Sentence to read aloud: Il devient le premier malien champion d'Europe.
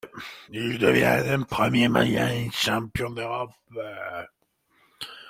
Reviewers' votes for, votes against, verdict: 2, 0, accepted